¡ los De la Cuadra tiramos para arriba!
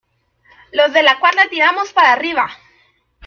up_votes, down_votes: 1, 2